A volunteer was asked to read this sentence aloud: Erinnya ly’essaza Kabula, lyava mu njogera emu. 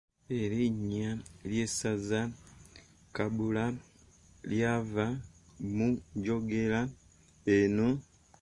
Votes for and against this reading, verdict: 0, 2, rejected